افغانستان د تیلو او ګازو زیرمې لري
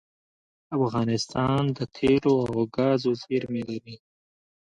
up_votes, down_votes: 2, 0